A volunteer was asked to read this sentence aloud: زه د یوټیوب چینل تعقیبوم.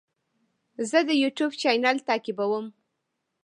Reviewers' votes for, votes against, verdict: 0, 2, rejected